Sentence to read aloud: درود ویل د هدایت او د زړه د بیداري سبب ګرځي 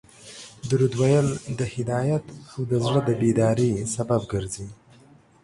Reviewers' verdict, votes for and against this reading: accepted, 2, 0